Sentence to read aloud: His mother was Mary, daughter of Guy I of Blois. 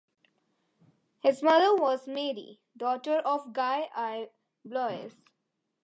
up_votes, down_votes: 0, 2